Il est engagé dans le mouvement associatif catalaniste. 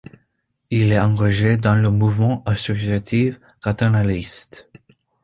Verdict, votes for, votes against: accepted, 2, 1